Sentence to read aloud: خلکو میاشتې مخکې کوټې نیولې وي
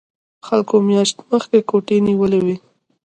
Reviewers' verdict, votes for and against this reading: rejected, 1, 2